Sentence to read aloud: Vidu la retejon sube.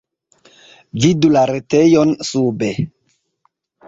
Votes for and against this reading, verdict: 2, 0, accepted